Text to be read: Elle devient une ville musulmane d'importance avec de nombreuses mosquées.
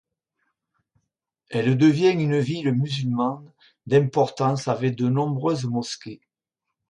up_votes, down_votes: 0, 2